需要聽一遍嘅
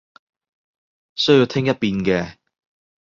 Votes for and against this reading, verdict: 2, 0, accepted